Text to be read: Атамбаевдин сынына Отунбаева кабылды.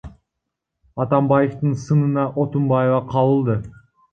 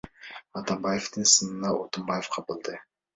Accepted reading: second